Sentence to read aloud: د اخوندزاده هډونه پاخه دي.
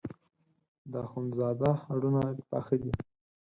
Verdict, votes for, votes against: accepted, 4, 0